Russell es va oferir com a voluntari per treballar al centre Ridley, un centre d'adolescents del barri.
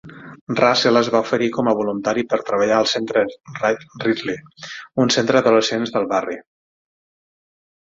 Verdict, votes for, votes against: rejected, 6, 9